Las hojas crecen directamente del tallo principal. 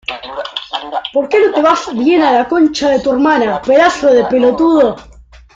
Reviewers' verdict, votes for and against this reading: rejected, 0, 2